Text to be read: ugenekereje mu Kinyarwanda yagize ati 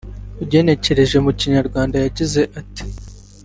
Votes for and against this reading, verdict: 0, 2, rejected